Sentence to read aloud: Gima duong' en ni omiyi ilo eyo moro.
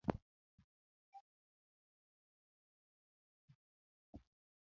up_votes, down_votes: 0, 2